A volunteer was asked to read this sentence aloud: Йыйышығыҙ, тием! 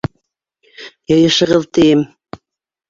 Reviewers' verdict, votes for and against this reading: accepted, 2, 1